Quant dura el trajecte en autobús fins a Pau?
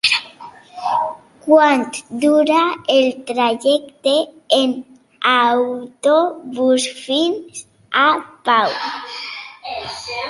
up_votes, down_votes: 2, 1